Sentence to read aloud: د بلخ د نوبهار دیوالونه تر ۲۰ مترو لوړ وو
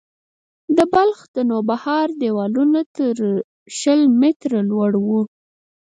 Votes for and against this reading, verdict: 0, 2, rejected